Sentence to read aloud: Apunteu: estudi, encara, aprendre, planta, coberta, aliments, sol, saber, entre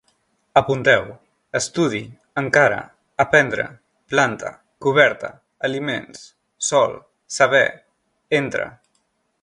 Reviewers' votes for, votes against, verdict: 3, 0, accepted